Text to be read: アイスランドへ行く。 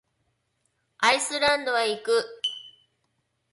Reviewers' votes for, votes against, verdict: 0, 2, rejected